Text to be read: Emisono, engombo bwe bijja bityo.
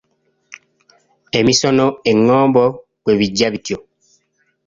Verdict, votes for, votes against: accepted, 3, 0